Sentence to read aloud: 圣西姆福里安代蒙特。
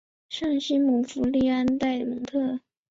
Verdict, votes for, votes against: accepted, 2, 0